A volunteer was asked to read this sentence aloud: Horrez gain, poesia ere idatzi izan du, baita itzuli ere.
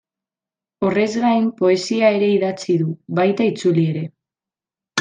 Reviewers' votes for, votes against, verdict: 0, 2, rejected